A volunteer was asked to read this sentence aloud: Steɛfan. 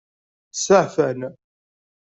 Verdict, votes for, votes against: accepted, 2, 0